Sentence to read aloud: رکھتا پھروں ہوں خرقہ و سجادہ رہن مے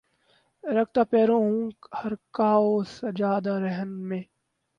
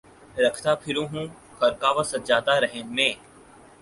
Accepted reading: second